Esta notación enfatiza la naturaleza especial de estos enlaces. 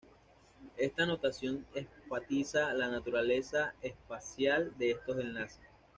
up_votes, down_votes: 2, 0